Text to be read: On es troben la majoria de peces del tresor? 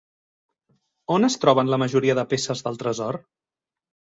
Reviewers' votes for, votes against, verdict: 3, 0, accepted